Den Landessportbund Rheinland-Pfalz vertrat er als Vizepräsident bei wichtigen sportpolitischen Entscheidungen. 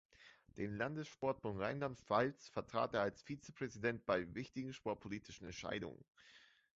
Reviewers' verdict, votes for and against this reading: accepted, 2, 0